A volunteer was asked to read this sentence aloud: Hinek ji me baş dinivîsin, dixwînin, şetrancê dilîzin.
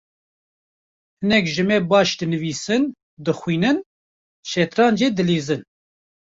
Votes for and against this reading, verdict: 2, 0, accepted